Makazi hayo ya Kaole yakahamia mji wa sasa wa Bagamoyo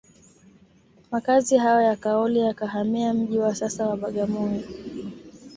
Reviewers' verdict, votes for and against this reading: accepted, 2, 0